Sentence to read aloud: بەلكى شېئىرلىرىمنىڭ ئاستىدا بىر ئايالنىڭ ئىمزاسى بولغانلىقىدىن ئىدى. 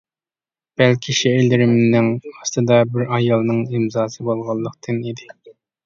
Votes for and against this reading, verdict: 0, 2, rejected